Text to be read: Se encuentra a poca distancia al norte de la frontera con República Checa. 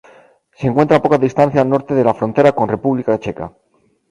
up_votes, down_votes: 0, 2